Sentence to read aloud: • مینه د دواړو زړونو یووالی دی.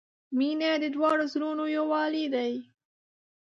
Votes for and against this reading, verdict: 0, 2, rejected